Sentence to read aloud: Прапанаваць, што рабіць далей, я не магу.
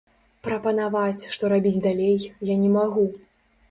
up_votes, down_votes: 2, 0